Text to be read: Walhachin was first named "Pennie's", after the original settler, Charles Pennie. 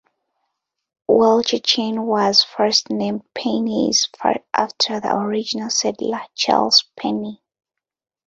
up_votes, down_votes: 1, 2